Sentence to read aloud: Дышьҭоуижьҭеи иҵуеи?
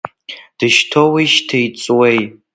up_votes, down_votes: 2, 0